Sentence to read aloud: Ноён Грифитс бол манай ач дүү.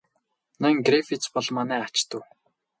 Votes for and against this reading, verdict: 2, 0, accepted